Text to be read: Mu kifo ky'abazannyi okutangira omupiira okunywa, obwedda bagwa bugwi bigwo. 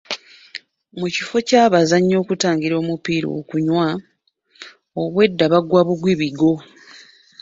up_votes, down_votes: 0, 2